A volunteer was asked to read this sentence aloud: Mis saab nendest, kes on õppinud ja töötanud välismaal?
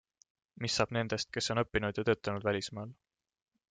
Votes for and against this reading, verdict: 2, 0, accepted